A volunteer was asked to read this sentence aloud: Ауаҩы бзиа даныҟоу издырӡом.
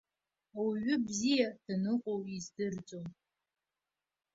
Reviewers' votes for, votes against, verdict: 2, 0, accepted